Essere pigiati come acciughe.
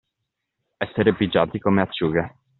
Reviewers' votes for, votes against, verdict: 2, 0, accepted